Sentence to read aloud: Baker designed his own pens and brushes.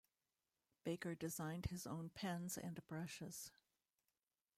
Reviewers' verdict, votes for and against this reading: rejected, 0, 2